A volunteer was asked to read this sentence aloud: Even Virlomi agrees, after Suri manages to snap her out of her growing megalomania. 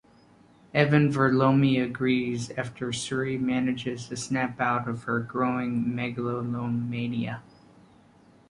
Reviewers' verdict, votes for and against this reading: rejected, 1, 2